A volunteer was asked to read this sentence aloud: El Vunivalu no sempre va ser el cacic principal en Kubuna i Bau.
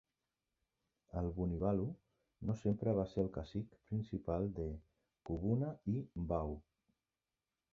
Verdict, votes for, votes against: rejected, 2, 3